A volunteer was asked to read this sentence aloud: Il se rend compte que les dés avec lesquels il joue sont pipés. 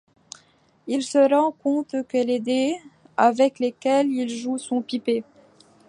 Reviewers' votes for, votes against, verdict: 2, 0, accepted